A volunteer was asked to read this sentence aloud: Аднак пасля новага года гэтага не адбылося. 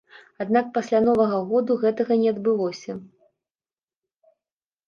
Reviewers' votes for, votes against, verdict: 0, 2, rejected